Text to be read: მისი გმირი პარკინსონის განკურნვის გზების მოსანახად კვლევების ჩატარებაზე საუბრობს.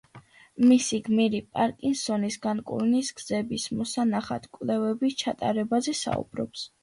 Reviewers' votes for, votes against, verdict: 2, 0, accepted